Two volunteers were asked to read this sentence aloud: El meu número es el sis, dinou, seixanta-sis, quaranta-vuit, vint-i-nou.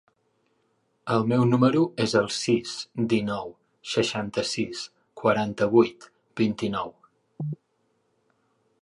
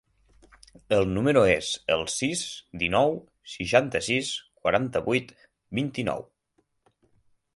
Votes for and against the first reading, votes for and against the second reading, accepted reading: 3, 0, 0, 6, first